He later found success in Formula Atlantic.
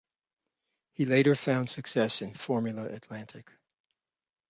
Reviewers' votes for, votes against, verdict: 2, 0, accepted